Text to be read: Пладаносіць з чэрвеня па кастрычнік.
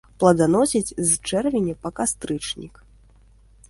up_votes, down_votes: 0, 2